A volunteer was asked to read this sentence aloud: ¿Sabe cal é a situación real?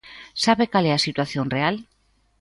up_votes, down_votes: 3, 0